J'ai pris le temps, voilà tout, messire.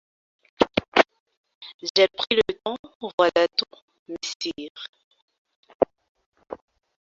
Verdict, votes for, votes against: rejected, 1, 2